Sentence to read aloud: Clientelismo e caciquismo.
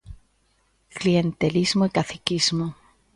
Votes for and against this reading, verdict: 2, 0, accepted